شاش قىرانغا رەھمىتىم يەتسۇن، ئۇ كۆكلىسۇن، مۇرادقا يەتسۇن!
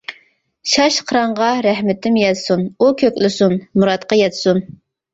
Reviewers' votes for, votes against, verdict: 2, 1, accepted